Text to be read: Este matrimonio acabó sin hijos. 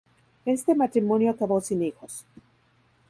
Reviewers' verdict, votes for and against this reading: accepted, 2, 0